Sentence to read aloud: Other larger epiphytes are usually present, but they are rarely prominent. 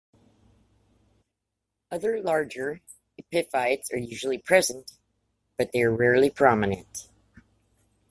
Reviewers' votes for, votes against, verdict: 2, 0, accepted